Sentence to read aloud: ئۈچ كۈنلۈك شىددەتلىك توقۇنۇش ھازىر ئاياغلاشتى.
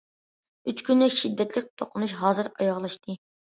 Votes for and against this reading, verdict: 2, 0, accepted